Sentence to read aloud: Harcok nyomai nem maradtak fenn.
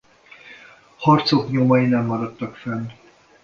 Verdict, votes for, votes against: rejected, 1, 2